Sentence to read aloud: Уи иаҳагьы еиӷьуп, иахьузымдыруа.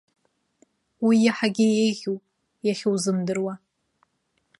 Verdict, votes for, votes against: accepted, 2, 0